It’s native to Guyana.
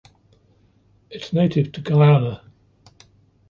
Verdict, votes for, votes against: rejected, 1, 2